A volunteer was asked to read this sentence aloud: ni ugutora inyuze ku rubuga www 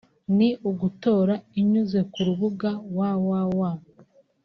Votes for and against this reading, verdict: 2, 0, accepted